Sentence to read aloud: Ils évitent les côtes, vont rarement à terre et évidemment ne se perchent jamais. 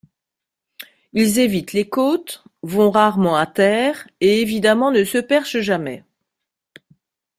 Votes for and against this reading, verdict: 2, 0, accepted